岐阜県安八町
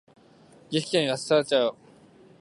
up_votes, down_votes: 2, 4